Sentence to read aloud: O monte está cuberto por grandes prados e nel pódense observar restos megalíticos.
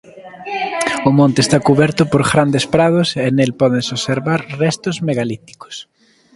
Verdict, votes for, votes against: accepted, 2, 1